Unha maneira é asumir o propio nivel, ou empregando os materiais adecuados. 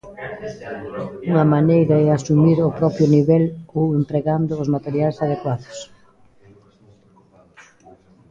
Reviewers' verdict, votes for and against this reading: accepted, 2, 1